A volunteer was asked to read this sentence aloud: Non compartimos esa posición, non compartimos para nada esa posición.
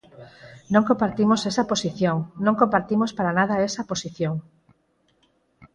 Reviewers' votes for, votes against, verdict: 4, 0, accepted